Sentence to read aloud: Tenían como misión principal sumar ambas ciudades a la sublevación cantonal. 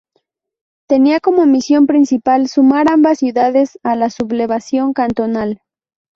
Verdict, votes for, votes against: rejected, 0, 2